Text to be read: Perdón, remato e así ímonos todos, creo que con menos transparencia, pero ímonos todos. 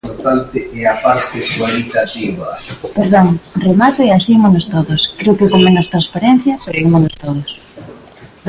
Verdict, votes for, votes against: rejected, 0, 2